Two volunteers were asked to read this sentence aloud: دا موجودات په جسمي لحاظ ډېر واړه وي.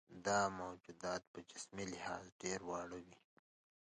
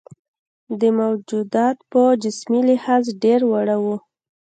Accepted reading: first